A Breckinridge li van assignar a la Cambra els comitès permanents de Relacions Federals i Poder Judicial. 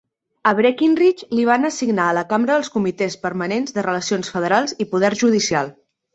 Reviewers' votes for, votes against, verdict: 3, 0, accepted